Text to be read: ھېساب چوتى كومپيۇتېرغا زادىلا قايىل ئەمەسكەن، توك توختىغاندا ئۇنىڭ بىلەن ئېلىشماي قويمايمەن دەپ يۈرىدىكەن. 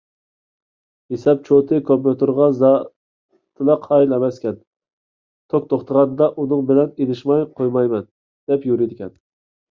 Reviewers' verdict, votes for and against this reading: rejected, 0, 2